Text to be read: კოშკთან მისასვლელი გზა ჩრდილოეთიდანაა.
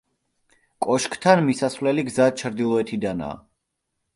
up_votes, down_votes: 2, 0